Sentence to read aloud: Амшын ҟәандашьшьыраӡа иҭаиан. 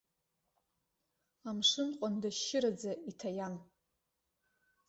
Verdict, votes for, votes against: accepted, 2, 0